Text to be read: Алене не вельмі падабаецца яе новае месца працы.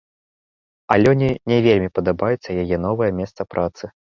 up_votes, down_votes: 1, 2